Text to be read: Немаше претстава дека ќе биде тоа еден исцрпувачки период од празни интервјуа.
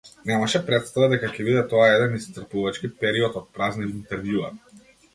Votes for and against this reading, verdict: 2, 0, accepted